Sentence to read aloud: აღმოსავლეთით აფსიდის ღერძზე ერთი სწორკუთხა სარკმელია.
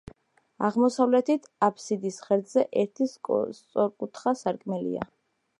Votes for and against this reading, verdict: 2, 0, accepted